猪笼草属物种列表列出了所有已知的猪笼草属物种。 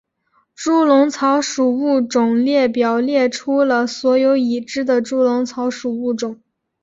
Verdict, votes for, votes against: accepted, 3, 0